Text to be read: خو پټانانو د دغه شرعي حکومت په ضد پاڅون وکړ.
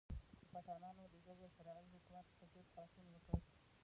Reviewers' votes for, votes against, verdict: 1, 2, rejected